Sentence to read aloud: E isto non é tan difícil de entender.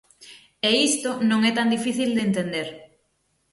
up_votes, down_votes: 6, 0